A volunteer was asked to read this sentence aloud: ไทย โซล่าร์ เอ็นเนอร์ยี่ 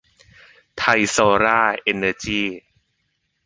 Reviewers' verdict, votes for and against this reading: rejected, 1, 2